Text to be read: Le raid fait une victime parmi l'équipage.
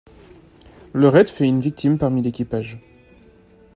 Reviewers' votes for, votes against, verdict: 2, 0, accepted